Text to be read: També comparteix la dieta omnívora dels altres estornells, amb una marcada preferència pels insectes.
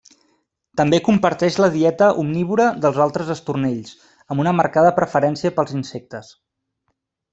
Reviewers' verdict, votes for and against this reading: accepted, 3, 0